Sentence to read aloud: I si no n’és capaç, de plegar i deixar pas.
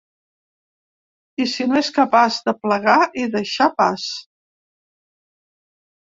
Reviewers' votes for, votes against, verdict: 0, 2, rejected